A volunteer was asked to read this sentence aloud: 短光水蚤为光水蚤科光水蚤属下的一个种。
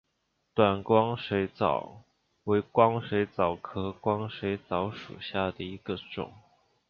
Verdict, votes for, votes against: accepted, 2, 0